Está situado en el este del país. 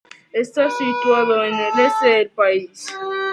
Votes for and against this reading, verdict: 1, 2, rejected